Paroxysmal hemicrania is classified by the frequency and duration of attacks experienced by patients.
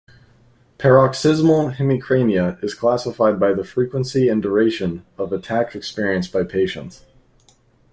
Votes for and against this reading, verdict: 2, 0, accepted